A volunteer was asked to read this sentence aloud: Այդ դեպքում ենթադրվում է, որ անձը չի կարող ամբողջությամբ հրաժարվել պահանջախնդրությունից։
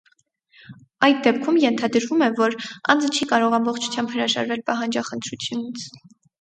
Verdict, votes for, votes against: accepted, 2, 0